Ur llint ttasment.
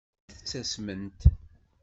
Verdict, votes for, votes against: rejected, 1, 2